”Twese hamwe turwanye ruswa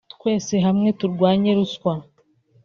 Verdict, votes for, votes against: accepted, 2, 1